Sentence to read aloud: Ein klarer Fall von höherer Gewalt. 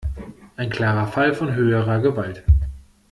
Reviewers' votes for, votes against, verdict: 2, 0, accepted